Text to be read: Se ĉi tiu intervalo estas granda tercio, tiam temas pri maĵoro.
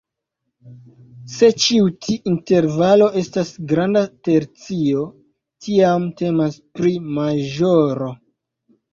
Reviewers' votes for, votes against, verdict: 1, 2, rejected